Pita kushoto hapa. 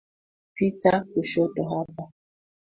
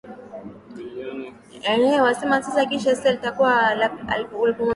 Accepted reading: first